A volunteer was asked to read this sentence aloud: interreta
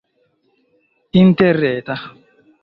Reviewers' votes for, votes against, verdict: 0, 2, rejected